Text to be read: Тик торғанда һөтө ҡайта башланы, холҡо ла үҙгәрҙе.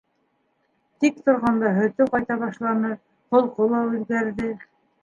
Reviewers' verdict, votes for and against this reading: accepted, 2, 0